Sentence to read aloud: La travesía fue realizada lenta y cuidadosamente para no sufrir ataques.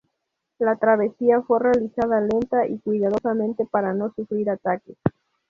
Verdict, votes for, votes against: rejected, 2, 2